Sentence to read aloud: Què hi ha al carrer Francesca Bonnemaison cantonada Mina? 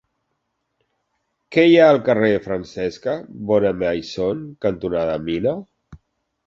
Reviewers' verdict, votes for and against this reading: accepted, 2, 0